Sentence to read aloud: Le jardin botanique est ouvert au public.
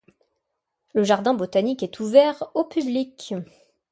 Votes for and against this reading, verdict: 2, 0, accepted